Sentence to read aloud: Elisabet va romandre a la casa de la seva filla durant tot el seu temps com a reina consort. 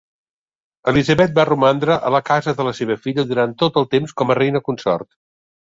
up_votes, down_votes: 1, 2